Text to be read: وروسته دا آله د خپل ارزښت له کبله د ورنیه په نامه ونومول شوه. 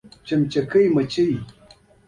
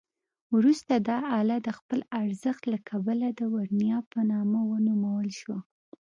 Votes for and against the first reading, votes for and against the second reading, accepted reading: 0, 2, 2, 0, second